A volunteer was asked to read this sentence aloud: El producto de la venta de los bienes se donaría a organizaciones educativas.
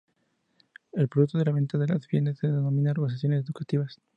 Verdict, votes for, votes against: accepted, 2, 0